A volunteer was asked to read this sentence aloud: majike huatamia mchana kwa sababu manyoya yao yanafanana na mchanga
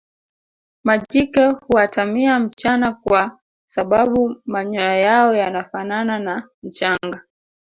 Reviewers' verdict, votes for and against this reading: rejected, 1, 2